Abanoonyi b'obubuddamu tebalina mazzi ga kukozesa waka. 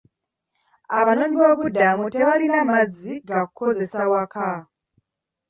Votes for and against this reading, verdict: 2, 0, accepted